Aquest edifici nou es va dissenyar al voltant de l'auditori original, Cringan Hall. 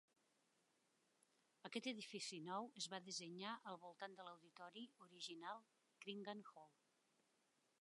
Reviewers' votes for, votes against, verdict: 2, 1, accepted